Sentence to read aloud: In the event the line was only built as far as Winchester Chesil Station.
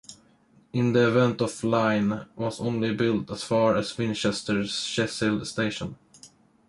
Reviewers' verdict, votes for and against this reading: rejected, 1, 2